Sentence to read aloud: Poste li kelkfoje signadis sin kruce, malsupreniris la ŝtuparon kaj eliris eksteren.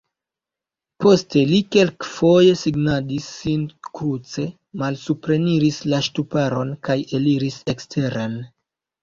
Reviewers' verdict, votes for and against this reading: rejected, 1, 2